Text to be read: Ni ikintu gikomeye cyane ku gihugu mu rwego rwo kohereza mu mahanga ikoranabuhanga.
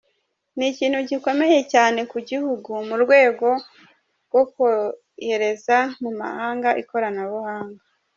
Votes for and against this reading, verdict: 2, 0, accepted